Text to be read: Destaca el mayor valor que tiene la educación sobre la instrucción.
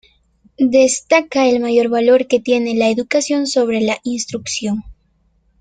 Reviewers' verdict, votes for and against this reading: accepted, 2, 0